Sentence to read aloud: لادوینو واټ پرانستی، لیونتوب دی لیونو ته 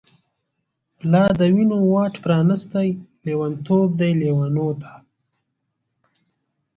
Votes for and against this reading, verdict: 3, 0, accepted